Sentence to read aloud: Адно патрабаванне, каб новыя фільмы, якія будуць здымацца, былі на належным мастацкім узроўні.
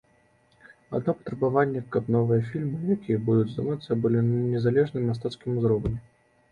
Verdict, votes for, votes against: rejected, 0, 2